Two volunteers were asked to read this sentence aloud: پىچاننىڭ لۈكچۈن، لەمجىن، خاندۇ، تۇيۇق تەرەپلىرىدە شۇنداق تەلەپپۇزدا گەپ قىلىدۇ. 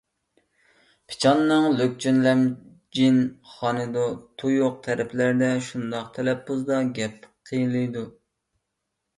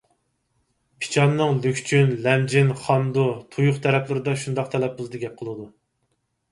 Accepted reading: second